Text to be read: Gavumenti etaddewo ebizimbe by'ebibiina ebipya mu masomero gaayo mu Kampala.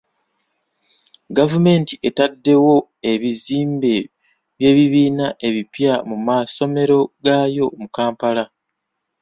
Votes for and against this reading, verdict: 2, 0, accepted